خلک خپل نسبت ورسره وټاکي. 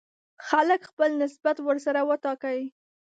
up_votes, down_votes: 1, 2